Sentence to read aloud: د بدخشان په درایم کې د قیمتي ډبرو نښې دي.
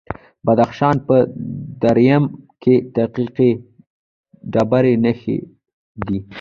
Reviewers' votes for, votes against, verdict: 1, 2, rejected